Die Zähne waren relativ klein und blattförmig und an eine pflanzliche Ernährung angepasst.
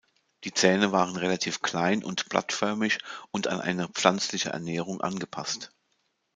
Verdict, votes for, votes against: accepted, 2, 0